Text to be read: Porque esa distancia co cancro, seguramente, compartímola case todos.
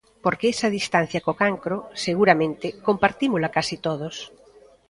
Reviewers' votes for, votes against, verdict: 1, 2, rejected